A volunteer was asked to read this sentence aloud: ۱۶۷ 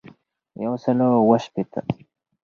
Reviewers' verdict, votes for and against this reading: rejected, 0, 2